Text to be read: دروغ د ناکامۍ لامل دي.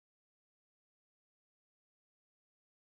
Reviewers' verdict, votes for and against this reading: rejected, 1, 2